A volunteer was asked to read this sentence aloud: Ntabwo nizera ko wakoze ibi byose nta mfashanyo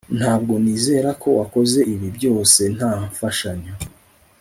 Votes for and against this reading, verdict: 2, 0, accepted